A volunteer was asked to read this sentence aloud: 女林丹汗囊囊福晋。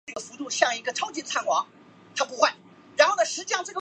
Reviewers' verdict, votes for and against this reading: rejected, 0, 2